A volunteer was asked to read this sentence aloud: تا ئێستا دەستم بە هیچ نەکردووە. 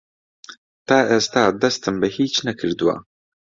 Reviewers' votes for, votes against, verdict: 2, 0, accepted